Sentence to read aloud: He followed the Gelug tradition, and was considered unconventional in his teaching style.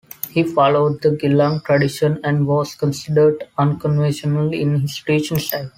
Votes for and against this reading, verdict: 2, 0, accepted